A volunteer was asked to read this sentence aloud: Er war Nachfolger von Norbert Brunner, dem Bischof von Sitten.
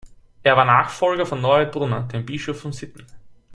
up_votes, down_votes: 1, 2